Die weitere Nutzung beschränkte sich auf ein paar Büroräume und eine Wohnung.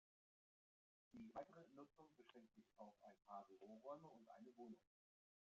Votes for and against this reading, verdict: 0, 2, rejected